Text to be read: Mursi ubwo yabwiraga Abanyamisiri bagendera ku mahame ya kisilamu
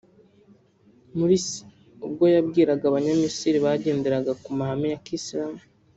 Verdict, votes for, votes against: accepted, 3, 1